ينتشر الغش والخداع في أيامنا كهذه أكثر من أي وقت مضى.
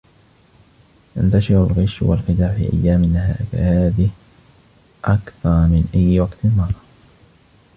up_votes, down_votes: 1, 2